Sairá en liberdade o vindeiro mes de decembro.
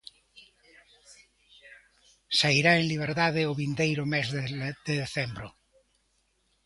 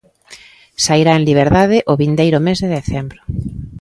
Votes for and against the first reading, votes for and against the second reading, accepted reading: 0, 2, 2, 0, second